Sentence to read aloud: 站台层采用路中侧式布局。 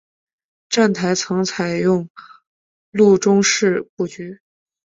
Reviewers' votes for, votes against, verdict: 2, 0, accepted